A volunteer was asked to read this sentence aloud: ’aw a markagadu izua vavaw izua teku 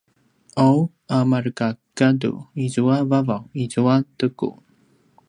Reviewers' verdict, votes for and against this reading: accepted, 2, 0